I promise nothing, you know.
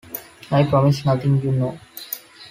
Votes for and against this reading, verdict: 2, 0, accepted